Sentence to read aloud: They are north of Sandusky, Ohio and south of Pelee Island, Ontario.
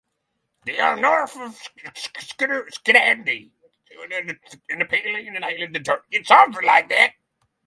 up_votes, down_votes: 0, 6